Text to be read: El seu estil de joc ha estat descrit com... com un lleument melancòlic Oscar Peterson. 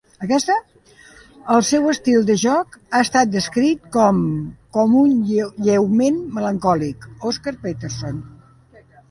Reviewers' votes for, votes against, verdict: 0, 2, rejected